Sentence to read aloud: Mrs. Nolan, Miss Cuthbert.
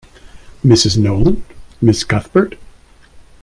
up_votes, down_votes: 1, 2